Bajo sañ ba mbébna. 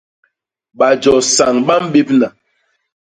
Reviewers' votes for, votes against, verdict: 2, 0, accepted